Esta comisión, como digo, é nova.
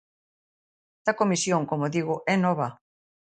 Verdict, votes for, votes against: rejected, 0, 2